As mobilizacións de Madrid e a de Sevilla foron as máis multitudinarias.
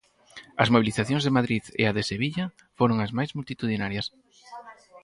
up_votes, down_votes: 4, 0